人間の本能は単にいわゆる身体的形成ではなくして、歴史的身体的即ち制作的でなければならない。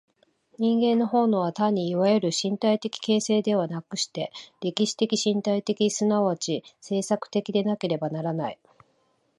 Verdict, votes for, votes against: accepted, 2, 1